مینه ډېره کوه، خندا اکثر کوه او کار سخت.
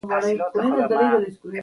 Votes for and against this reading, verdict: 1, 2, rejected